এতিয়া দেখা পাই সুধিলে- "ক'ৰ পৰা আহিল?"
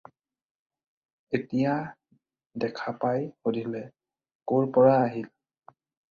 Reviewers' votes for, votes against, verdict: 4, 0, accepted